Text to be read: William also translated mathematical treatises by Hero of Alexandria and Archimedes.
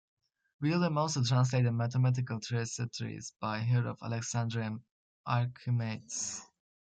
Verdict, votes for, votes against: rejected, 1, 2